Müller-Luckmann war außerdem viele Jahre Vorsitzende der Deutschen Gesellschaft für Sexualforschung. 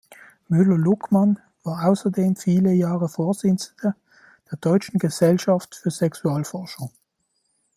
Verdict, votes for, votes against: rejected, 0, 2